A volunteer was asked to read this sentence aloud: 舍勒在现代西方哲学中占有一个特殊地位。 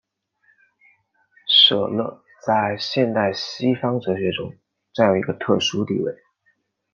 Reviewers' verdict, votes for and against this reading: accepted, 2, 1